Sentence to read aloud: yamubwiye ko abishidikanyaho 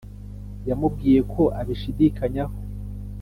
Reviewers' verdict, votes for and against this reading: accepted, 3, 0